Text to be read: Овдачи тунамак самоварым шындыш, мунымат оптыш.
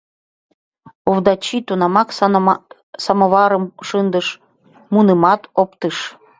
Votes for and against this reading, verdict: 2, 1, accepted